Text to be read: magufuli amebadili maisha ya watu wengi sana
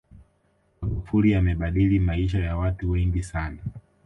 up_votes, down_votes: 2, 1